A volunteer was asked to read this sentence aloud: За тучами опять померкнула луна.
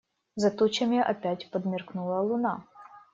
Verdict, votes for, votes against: rejected, 0, 2